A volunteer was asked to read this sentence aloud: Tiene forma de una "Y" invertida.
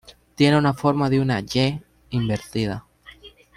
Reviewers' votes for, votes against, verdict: 0, 2, rejected